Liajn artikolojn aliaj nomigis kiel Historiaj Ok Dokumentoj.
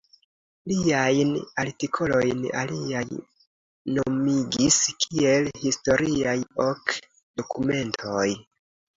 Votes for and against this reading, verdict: 2, 0, accepted